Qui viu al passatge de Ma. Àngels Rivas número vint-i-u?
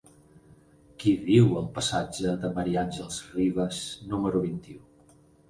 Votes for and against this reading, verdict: 4, 0, accepted